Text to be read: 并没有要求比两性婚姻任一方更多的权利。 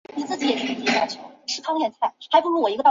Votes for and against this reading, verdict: 0, 2, rejected